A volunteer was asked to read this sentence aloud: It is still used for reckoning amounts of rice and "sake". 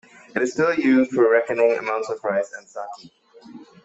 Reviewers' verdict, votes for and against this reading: rejected, 1, 2